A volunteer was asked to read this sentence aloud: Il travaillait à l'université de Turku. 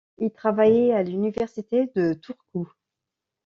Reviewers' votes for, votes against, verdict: 2, 0, accepted